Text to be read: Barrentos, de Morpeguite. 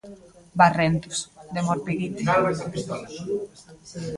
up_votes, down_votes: 2, 0